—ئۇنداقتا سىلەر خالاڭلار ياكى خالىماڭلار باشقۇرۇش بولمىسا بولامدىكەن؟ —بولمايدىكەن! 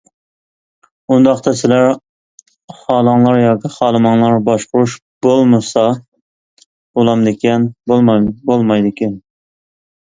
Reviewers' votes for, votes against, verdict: 0, 2, rejected